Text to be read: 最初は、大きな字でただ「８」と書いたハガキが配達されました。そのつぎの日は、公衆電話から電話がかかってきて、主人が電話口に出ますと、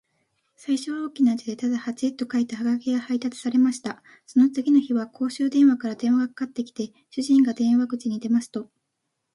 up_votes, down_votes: 0, 2